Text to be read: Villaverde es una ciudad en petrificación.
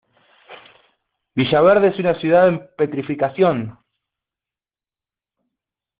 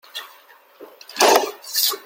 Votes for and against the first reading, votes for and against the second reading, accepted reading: 2, 0, 0, 2, first